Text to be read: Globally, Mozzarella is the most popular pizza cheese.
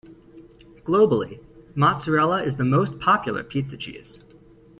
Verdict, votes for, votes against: accepted, 2, 0